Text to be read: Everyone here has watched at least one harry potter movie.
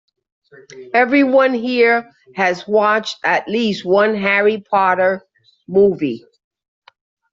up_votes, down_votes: 2, 0